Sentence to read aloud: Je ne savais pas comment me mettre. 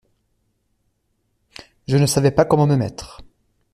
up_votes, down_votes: 2, 0